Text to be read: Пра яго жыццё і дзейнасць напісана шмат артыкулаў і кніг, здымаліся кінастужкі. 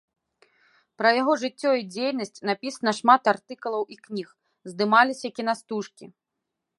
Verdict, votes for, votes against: rejected, 0, 2